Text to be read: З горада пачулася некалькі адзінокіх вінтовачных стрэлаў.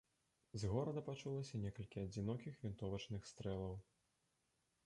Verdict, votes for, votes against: rejected, 1, 2